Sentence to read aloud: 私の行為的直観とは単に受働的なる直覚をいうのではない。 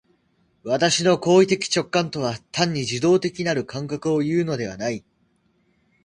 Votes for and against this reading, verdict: 1, 2, rejected